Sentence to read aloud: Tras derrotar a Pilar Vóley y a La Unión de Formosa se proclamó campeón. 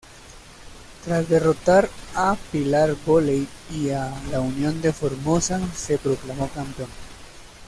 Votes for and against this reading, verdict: 2, 0, accepted